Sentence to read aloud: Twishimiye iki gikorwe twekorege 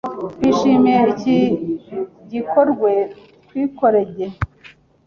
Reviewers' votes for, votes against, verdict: 1, 2, rejected